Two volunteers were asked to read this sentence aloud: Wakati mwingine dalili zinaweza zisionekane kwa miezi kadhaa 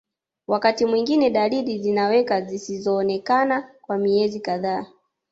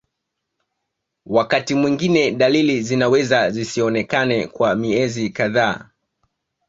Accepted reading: second